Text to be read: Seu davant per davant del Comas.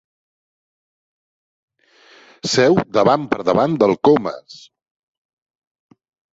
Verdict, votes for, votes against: accepted, 3, 0